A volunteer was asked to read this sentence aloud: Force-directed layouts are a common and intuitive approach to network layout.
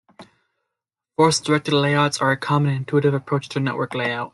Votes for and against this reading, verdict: 2, 0, accepted